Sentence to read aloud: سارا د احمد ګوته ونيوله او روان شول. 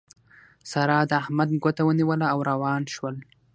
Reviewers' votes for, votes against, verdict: 3, 3, rejected